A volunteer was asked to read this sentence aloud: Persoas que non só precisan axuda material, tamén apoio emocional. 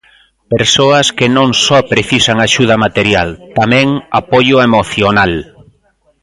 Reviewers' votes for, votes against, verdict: 2, 0, accepted